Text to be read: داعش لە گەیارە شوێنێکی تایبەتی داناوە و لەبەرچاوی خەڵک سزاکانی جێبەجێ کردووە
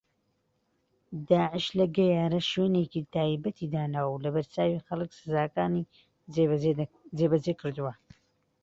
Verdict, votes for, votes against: rejected, 0, 2